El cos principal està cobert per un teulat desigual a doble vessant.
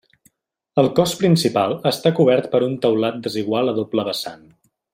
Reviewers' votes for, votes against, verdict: 3, 0, accepted